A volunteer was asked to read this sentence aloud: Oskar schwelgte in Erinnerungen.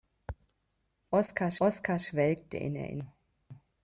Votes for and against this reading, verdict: 0, 2, rejected